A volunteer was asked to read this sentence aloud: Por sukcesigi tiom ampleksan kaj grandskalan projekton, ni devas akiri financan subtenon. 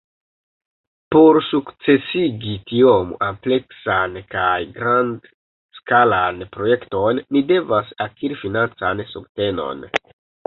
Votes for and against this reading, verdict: 2, 3, rejected